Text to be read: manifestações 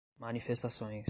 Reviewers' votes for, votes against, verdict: 2, 0, accepted